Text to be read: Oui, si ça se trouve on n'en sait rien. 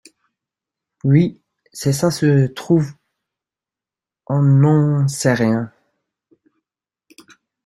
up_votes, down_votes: 1, 2